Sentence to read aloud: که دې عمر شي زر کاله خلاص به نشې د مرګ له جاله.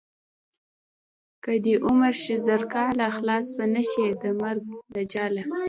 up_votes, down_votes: 1, 2